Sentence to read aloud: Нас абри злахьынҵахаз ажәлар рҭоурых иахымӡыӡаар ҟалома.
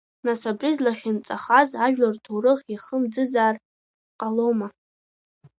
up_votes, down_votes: 1, 2